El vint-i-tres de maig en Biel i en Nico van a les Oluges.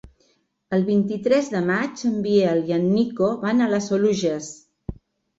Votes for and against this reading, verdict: 3, 0, accepted